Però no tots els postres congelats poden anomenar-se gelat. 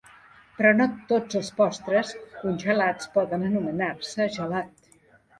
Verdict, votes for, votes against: rejected, 1, 3